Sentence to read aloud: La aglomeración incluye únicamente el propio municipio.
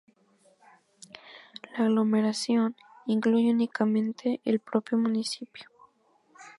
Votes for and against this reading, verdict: 0, 2, rejected